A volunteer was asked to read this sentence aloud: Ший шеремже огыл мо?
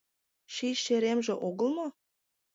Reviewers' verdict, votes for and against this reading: accepted, 2, 0